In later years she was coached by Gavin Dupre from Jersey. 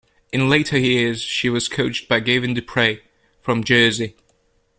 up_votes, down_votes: 1, 2